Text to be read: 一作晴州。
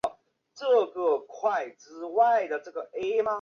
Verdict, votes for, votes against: rejected, 1, 4